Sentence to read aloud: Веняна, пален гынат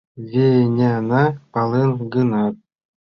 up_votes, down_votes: 2, 0